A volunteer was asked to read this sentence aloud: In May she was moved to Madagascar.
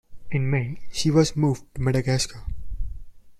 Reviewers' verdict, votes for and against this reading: accepted, 2, 0